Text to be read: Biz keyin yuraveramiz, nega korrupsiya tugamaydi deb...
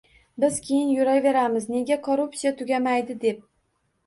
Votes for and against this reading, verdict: 2, 0, accepted